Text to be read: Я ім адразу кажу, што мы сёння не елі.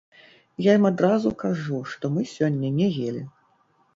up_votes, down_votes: 0, 2